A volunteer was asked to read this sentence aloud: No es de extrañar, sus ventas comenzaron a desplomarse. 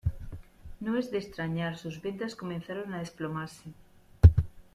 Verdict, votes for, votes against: rejected, 1, 2